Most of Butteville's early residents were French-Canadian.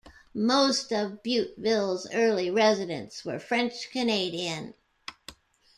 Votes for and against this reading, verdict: 2, 0, accepted